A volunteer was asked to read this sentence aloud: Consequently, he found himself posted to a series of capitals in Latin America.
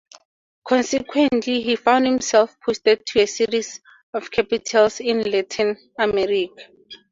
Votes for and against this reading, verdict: 2, 2, rejected